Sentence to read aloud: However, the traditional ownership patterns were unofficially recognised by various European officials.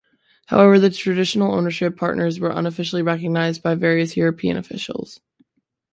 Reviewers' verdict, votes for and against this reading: rejected, 0, 2